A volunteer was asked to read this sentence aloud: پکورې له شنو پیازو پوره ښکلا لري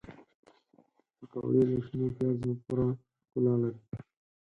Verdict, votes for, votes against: rejected, 2, 4